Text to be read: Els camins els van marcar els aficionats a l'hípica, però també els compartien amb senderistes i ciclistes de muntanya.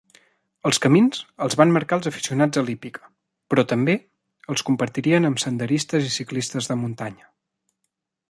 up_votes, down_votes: 1, 2